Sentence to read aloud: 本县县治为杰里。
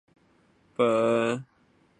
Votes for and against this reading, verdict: 0, 6, rejected